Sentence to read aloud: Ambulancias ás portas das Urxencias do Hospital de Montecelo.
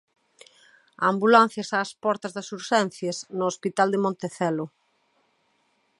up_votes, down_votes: 0, 2